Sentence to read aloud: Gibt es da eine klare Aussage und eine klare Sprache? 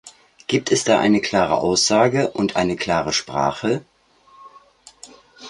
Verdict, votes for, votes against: accepted, 2, 0